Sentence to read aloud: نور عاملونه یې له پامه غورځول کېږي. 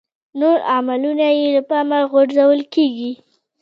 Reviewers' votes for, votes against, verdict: 1, 2, rejected